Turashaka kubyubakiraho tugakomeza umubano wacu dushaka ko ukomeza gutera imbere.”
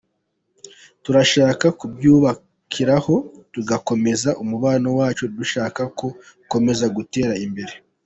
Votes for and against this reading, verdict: 2, 1, accepted